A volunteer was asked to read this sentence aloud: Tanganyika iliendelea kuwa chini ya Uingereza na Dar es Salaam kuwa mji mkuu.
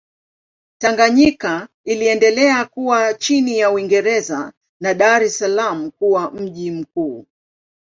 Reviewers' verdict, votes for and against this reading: accepted, 2, 0